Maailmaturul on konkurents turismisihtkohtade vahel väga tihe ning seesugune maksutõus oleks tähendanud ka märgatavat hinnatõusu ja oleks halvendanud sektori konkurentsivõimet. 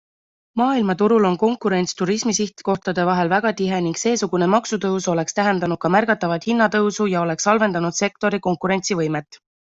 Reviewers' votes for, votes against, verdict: 2, 0, accepted